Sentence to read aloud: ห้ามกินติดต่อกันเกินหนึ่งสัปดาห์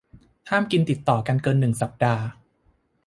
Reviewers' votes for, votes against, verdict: 2, 0, accepted